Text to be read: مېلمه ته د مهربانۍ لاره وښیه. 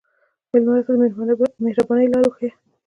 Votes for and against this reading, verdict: 1, 2, rejected